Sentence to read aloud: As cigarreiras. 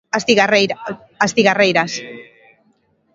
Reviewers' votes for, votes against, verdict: 0, 2, rejected